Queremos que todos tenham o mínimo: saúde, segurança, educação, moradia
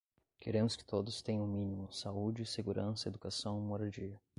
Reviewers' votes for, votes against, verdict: 10, 0, accepted